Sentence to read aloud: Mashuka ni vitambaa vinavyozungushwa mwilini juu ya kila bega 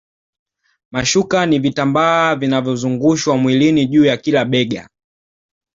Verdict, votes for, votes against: accepted, 2, 0